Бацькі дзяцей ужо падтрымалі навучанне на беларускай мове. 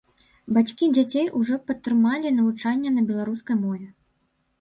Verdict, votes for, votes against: accepted, 2, 0